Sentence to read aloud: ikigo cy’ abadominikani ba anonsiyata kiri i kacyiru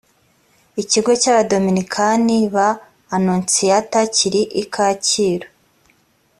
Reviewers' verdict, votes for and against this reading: accepted, 4, 0